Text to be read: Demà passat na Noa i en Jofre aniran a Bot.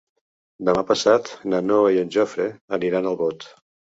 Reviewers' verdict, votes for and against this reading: rejected, 2, 3